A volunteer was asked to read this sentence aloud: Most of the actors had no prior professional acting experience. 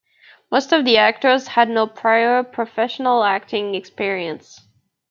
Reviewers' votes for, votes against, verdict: 2, 0, accepted